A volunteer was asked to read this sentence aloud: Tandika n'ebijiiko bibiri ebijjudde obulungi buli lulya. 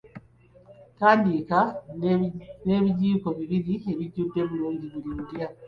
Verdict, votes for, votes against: accepted, 2, 1